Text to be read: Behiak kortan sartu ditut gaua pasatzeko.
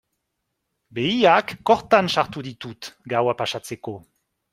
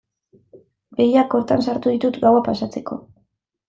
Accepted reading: second